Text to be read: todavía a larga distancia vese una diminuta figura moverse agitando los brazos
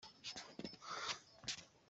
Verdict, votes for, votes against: rejected, 0, 2